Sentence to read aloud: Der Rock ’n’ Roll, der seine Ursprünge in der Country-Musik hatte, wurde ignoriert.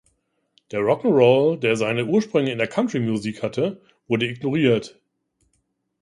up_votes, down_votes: 2, 0